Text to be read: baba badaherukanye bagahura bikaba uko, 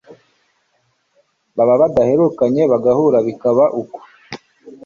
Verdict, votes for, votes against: accepted, 2, 0